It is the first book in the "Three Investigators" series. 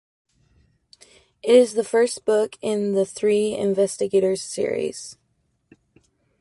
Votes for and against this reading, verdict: 1, 2, rejected